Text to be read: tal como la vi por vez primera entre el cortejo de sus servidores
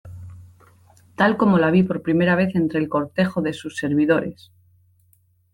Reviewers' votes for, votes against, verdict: 2, 1, accepted